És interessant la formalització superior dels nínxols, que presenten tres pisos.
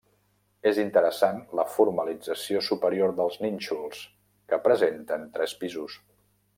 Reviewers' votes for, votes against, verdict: 3, 0, accepted